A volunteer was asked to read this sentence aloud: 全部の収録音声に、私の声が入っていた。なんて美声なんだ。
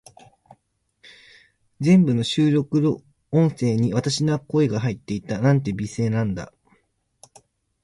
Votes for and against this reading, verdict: 0, 2, rejected